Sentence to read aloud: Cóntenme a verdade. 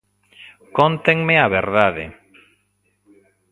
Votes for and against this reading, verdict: 2, 0, accepted